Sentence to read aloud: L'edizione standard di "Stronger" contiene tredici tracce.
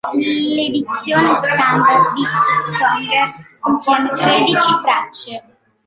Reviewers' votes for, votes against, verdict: 2, 0, accepted